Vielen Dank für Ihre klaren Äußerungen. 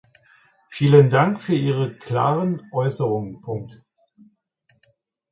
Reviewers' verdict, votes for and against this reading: rejected, 1, 2